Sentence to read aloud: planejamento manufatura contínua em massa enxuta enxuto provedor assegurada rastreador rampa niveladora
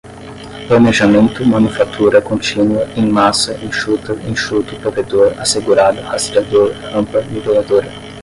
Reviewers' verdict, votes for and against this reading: rejected, 5, 5